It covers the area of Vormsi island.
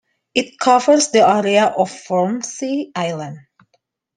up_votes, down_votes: 1, 2